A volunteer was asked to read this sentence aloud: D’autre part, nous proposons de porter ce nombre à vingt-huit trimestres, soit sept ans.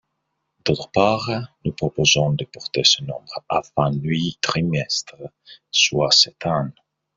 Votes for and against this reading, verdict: 0, 2, rejected